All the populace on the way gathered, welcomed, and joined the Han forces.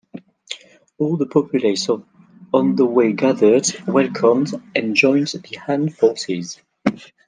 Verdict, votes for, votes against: accepted, 2, 1